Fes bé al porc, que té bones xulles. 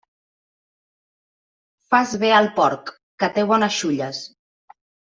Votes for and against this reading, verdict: 1, 2, rejected